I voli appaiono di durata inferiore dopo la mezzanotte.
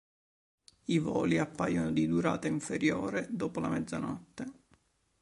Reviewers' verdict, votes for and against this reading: accepted, 2, 0